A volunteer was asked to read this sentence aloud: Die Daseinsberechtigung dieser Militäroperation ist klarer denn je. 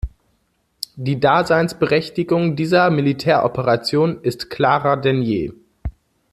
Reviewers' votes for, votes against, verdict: 2, 0, accepted